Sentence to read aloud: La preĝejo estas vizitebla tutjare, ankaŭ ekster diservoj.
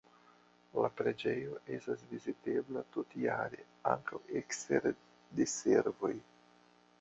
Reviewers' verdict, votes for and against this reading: rejected, 1, 2